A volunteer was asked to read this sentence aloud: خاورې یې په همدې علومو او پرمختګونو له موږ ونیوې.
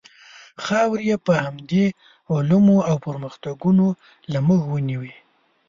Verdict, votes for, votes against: accepted, 2, 0